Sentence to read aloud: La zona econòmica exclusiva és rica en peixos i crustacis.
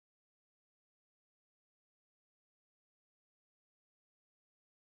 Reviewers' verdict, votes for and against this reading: rejected, 1, 2